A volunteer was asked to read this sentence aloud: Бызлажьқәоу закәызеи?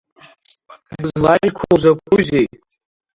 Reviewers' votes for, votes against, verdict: 1, 5, rejected